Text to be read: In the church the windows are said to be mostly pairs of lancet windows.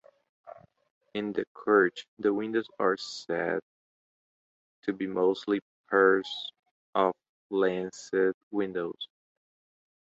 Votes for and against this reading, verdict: 1, 3, rejected